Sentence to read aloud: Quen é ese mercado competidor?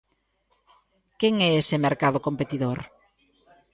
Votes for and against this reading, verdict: 2, 0, accepted